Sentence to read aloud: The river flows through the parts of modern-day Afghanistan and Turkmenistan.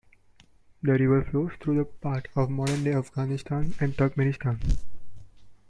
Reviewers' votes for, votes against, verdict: 0, 2, rejected